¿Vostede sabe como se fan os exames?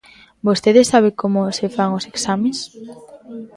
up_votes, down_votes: 2, 0